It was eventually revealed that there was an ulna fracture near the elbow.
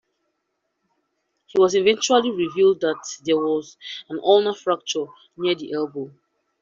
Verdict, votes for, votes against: accepted, 2, 1